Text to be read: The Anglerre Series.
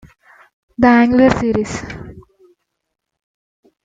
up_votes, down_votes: 1, 2